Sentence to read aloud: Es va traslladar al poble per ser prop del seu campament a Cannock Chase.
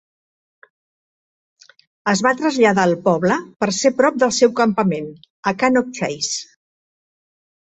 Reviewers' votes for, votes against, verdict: 2, 0, accepted